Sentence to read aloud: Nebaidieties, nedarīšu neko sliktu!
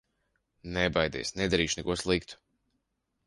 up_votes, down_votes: 0, 2